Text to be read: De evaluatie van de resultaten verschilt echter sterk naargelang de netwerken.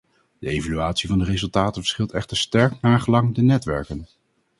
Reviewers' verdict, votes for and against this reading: accepted, 4, 0